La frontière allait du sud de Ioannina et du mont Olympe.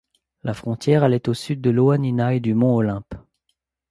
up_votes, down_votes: 1, 2